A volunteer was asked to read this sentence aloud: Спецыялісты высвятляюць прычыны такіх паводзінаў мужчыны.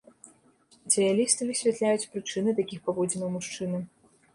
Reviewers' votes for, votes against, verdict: 1, 2, rejected